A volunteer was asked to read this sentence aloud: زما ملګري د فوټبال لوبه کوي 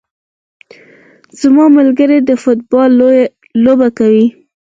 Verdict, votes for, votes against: accepted, 4, 2